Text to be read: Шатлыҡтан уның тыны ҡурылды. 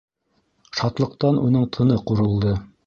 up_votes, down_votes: 2, 0